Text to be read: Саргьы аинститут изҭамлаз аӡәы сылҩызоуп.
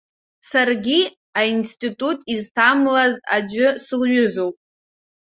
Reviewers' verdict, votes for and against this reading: accepted, 2, 1